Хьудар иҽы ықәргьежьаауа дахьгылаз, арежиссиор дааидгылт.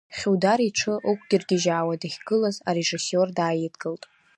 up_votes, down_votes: 1, 2